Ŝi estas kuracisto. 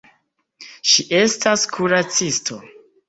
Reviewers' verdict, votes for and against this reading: accepted, 2, 0